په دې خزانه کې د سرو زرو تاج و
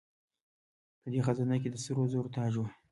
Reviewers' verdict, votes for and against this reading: accepted, 2, 0